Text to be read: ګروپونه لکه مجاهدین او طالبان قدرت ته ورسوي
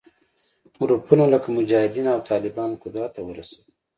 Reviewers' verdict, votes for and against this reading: accepted, 2, 0